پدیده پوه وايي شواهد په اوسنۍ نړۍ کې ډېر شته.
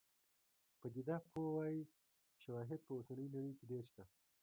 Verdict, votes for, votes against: rejected, 0, 2